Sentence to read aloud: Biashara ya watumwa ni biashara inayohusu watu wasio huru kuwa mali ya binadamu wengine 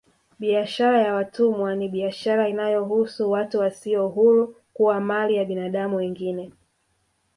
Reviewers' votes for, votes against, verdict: 1, 2, rejected